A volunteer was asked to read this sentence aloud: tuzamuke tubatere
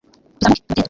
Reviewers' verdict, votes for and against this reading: rejected, 1, 2